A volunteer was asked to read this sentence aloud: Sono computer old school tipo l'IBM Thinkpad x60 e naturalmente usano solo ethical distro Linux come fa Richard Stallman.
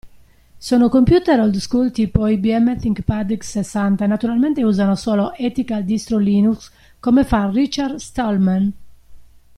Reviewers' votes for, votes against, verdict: 0, 2, rejected